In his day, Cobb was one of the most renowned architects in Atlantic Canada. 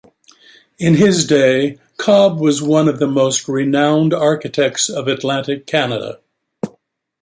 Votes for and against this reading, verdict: 0, 2, rejected